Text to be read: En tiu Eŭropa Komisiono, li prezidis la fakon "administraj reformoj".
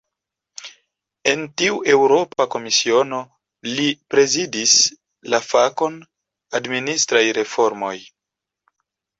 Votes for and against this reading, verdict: 2, 0, accepted